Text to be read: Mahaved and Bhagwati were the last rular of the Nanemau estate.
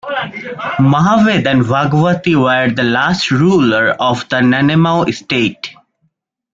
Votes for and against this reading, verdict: 2, 1, accepted